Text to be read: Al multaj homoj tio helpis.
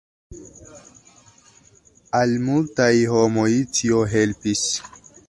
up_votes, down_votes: 2, 0